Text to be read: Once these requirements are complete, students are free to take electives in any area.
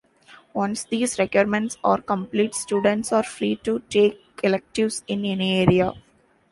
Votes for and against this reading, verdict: 2, 1, accepted